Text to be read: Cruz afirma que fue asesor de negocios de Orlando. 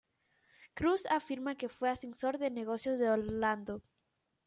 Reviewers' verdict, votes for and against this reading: accepted, 2, 0